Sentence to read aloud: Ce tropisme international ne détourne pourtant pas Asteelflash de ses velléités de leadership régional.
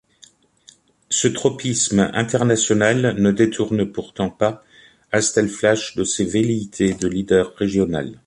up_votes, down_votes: 1, 2